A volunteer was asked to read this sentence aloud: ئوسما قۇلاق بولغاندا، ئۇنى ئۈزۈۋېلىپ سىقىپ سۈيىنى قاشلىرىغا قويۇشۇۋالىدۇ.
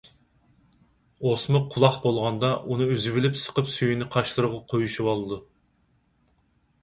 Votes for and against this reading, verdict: 4, 0, accepted